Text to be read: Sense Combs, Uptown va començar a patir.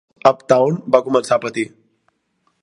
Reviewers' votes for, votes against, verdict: 0, 2, rejected